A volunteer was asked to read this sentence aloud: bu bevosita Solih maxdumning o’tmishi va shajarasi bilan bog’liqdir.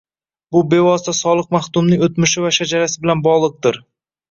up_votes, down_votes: 1, 2